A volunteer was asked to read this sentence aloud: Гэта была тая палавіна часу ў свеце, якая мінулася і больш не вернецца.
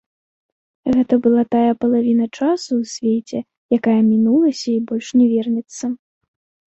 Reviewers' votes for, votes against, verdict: 2, 0, accepted